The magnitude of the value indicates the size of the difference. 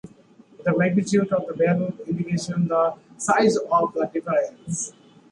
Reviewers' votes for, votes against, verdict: 1, 2, rejected